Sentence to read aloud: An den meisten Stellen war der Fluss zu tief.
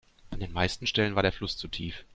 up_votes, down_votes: 2, 0